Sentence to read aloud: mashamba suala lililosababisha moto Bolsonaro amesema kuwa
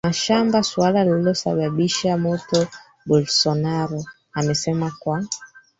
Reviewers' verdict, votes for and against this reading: rejected, 0, 3